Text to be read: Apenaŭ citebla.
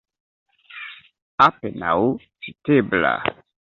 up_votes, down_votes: 1, 2